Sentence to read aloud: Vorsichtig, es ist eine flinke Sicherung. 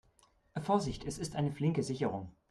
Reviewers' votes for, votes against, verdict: 2, 0, accepted